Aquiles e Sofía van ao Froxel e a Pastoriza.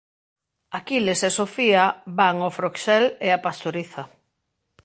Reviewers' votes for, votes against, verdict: 1, 2, rejected